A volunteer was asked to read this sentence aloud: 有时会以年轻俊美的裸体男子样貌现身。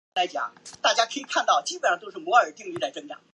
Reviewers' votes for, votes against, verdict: 0, 2, rejected